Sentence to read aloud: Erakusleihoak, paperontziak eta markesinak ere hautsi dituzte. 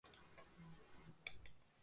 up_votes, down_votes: 0, 2